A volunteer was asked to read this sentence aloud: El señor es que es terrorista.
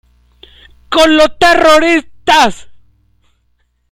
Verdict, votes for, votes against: rejected, 0, 2